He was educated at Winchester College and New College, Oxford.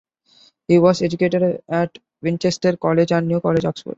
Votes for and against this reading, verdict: 2, 1, accepted